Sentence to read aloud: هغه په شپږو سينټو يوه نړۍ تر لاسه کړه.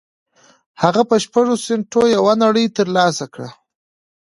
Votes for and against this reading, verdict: 3, 0, accepted